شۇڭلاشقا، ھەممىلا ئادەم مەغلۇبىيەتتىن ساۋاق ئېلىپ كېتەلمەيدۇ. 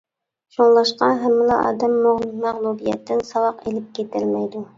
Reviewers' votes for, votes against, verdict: 0, 2, rejected